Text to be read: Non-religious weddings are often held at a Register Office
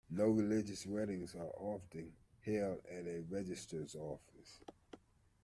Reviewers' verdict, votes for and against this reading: rejected, 0, 2